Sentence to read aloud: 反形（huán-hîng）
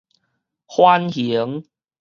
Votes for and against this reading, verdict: 4, 0, accepted